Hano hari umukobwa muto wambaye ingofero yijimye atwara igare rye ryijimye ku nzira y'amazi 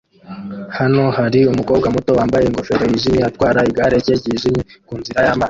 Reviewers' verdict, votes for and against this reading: rejected, 1, 2